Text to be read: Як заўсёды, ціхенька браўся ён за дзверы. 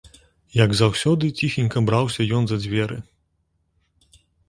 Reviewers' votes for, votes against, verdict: 3, 0, accepted